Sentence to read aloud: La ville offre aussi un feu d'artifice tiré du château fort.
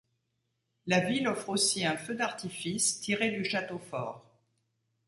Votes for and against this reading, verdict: 2, 0, accepted